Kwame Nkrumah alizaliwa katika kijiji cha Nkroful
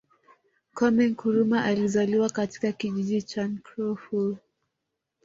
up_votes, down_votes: 1, 2